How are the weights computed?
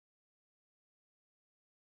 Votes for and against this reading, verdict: 0, 2, rejected